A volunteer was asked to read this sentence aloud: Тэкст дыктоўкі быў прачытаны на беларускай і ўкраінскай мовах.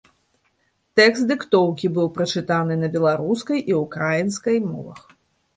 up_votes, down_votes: 2, 0